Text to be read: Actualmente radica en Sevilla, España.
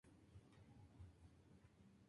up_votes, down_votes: 0, 2